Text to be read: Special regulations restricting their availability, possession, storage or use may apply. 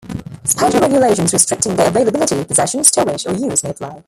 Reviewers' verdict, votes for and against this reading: rejected, 1, 2